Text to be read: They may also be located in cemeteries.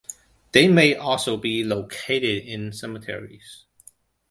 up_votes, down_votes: 2, 0